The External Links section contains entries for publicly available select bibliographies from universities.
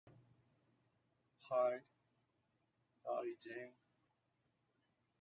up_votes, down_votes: 0, 2